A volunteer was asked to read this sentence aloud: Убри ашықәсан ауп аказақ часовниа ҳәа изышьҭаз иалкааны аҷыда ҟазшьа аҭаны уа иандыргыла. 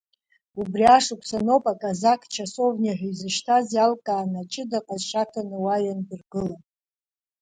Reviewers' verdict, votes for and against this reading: accepted, 2, 0